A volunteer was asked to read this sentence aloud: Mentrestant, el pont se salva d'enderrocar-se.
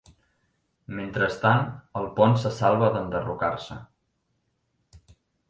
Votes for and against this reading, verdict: 4, 0, accepted